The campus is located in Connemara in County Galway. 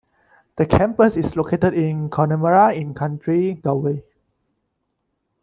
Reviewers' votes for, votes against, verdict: 2, 1, accepted